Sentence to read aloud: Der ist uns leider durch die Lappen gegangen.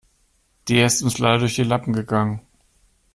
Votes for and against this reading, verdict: 2, 0, accepted